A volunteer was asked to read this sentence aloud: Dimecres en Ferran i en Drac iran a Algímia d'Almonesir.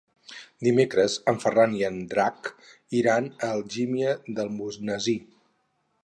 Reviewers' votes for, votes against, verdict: 2, 2, rejected